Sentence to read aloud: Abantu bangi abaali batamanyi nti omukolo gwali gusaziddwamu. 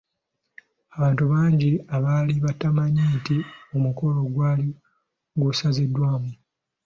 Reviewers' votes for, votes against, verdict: 3, 0, accepted